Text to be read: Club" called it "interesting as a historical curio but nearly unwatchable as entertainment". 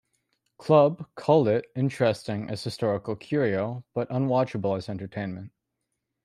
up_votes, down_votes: 0, 2